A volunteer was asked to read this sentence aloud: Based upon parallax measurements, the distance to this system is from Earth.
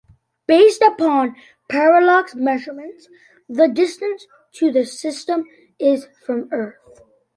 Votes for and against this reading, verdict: 2, 0, accepted